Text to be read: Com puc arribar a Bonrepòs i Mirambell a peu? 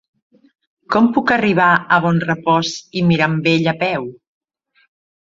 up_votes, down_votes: 3, 0